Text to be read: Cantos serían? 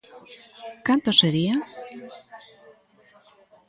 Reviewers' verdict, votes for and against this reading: rejected, 0, 2